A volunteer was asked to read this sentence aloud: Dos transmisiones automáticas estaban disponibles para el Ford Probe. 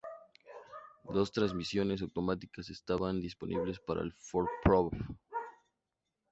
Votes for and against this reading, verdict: 2, 0, accepted